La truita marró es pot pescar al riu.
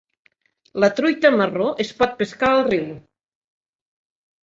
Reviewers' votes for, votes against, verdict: 1, 2, rejected